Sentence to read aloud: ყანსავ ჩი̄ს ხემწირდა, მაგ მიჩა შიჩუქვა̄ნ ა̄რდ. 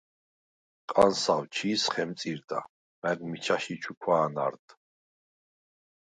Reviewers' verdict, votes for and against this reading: rejected, 2, 4